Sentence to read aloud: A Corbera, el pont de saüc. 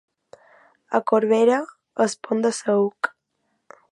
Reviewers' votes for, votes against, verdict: 0, 2, rejected